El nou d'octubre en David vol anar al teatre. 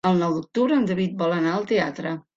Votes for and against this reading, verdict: 3, 0, accepted